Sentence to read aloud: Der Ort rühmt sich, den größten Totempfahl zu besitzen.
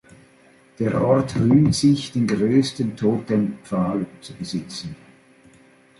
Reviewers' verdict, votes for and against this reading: accepted, 3, 0